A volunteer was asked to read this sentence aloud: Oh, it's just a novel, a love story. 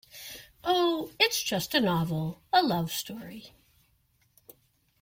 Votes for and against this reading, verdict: 2, 0, accepted